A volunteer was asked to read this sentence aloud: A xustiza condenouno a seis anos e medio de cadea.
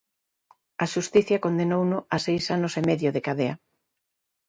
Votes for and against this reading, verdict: 2, 1, accepted